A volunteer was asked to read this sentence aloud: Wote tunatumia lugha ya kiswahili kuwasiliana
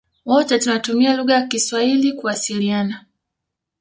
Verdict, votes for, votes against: accepted, 2, 0